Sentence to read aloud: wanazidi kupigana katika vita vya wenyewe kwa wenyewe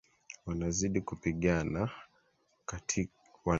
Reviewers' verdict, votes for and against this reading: rejected, 1, 3